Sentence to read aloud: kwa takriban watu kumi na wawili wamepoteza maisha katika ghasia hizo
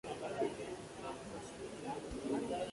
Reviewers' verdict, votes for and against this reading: rejected, 0, 2